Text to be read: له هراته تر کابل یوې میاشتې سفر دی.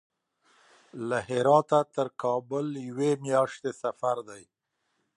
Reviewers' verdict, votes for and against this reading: accepted, 2, 0